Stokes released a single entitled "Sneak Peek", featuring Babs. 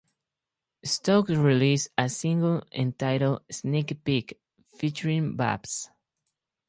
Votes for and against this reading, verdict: 4, 0, accepted